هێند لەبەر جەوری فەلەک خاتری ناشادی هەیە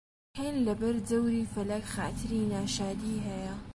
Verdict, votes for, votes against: accepted, 2, 0